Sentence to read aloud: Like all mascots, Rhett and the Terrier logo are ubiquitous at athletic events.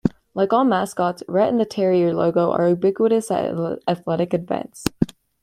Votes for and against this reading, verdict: 1, 2, rejected